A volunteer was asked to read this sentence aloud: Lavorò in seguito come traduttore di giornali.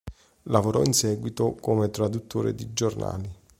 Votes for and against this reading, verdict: 2, 0, accepted